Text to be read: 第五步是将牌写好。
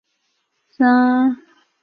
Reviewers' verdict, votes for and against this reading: rejected, 0, 4